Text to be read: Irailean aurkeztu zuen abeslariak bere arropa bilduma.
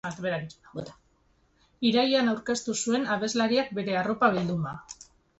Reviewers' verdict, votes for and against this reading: rejected, 1, 2